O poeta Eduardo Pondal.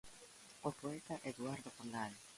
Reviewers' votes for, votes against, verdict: 0, 2, rejected